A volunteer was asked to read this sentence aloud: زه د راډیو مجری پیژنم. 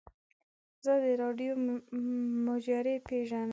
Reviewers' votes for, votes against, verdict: 1, 2, rejected